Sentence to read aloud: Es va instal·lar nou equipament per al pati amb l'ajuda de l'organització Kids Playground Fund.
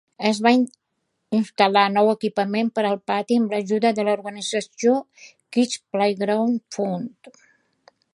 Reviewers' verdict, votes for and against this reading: rejected, 0, 2